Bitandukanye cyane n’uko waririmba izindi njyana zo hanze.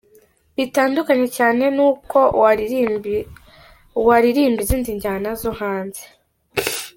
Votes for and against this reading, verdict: 1, 2, rejected